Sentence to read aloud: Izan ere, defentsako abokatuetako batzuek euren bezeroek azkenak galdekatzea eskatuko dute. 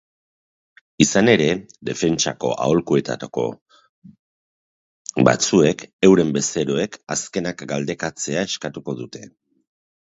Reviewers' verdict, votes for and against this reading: rejected, 0, 2